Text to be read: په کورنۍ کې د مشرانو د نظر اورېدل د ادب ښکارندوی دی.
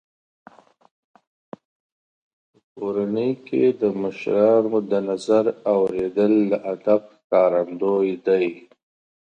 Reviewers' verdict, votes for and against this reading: rejected, 1, 2